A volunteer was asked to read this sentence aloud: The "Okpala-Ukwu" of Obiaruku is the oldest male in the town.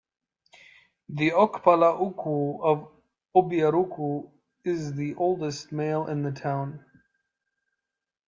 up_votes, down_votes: 2, 0